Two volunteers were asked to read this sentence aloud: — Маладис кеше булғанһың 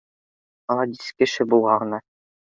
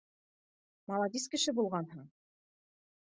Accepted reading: second